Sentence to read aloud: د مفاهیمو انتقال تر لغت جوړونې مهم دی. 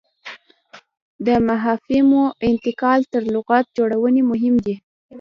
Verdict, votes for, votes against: accepted, 2, 0